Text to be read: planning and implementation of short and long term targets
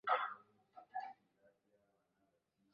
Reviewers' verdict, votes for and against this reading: rejected, 0, 2